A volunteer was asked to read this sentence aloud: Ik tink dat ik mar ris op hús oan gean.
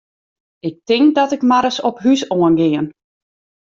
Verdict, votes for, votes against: accepted, 2, 0